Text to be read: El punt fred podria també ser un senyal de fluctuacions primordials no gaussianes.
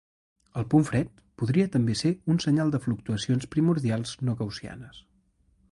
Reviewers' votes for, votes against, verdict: 3, 0, accepted